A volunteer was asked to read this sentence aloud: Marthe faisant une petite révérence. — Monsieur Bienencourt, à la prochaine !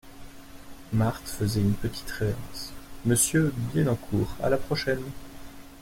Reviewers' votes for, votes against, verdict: 1, 2, rejected